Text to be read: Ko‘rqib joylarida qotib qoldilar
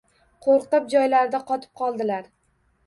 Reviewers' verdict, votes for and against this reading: rejected, 1, 2